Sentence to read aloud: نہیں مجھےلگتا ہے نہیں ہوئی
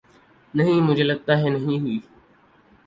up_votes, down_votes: 2, 2